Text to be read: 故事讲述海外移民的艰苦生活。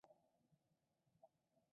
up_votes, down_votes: 0, 5